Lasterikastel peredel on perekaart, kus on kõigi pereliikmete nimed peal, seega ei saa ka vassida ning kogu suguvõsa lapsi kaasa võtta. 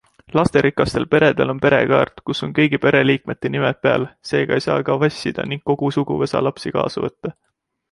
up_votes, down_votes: 2, 0